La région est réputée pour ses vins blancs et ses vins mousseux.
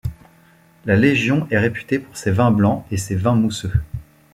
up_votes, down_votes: 0, 2